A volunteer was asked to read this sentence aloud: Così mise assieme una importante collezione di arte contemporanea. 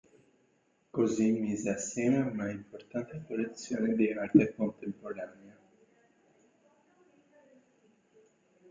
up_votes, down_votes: 0, 2